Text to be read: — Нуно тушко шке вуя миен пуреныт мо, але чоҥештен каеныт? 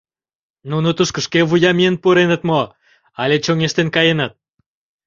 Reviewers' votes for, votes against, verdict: 2, 0, accepted